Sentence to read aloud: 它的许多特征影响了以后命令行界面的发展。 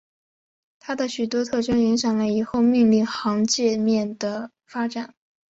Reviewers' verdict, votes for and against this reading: accepted, 2, 0